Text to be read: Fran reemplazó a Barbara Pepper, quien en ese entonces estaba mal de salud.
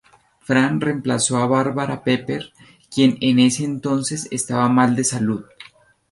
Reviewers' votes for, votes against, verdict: 2, 0, accepted